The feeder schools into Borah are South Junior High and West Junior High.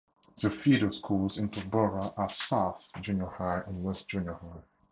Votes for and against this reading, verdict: 4, 0, accepted